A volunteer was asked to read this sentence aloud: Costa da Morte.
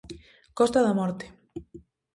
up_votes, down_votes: 2, 0